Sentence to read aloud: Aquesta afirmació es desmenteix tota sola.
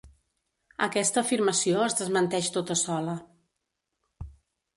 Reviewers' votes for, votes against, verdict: 2, 0, accepted